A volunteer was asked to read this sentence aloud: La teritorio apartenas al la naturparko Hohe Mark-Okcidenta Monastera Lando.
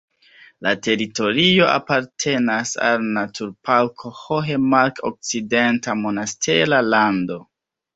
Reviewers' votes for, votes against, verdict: 2, 1, accepted